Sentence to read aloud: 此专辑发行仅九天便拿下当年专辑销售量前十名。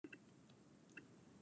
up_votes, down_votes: 0, 2